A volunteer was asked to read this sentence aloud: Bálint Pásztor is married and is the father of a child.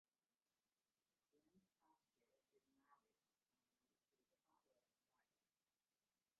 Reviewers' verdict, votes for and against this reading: rejected, 0, 2